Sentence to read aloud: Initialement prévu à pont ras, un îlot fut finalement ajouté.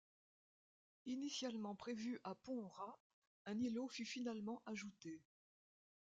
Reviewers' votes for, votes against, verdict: 2, 1, accepted